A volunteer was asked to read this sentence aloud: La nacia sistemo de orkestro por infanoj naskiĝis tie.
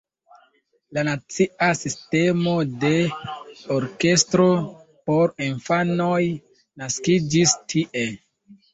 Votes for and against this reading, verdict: 0, 2, rejected